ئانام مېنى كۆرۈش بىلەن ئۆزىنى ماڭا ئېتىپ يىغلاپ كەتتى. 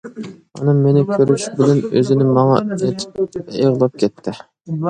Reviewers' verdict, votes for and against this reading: rejected, 1, 2